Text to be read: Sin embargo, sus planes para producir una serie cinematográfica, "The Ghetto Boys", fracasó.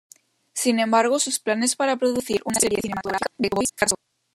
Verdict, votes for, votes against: rejected, 0, 2